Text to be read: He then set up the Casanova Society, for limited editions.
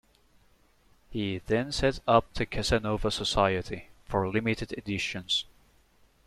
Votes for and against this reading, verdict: 2, 1, accepted